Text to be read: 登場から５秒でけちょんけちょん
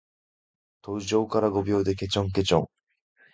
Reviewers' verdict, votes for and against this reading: rejected, 0, 2